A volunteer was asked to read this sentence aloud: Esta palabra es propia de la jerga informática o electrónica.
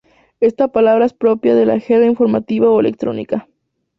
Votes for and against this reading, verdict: 0, 2, rejected